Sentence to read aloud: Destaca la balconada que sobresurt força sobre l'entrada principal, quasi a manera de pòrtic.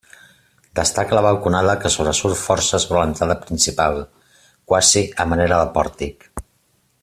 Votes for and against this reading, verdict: 2, 0, accepted